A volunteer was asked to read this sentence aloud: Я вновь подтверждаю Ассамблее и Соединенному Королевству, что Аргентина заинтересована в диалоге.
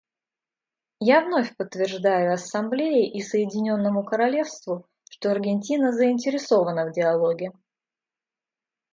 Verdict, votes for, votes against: accepted, 2, 0